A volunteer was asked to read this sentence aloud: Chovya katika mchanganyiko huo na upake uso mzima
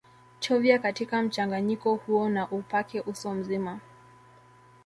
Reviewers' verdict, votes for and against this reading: rejected, 1, 2